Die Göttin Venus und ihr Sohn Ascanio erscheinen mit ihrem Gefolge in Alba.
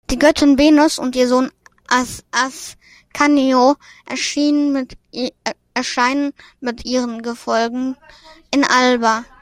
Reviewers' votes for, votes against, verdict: 0, 2, rejected